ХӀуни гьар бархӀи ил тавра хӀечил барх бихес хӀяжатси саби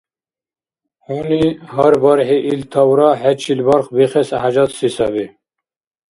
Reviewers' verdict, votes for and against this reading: accepted, 2, 0